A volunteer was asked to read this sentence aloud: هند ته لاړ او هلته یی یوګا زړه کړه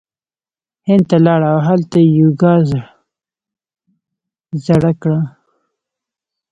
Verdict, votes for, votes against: accepted, 2, 0